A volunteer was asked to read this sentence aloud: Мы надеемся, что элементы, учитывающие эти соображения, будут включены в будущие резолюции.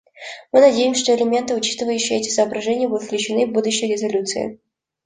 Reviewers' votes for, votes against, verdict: 2, 0, accepted